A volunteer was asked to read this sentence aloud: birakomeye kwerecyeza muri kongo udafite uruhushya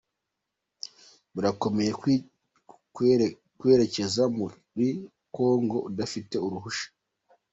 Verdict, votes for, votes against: accepted, 2, 0